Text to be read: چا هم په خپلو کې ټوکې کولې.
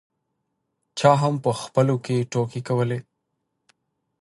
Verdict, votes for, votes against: accepted, 2, 0